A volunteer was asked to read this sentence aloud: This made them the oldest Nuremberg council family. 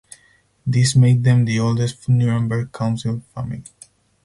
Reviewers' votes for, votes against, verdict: 0, 4, rejected